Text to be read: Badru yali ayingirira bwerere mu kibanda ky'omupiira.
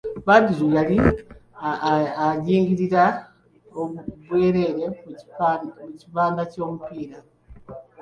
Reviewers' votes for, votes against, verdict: 1, 2, rejected